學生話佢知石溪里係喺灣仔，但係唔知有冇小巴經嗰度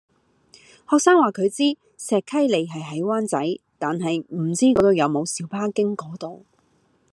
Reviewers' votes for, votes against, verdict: 0, 2, rejected